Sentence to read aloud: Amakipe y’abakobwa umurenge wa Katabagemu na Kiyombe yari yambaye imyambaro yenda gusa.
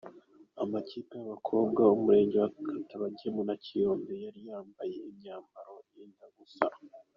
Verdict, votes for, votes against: accepted, 2, 1